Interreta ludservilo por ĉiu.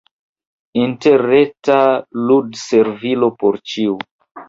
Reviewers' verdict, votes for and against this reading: accepted, 2, 1